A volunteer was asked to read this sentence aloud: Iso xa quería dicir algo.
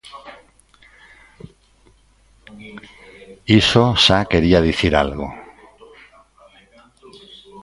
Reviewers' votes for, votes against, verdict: 2, 1, accepted